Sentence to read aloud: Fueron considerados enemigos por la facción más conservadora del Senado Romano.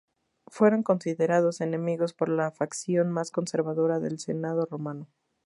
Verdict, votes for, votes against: accepted, 2, 0